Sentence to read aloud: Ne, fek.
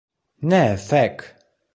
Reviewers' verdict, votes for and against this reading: rejected, 1, 2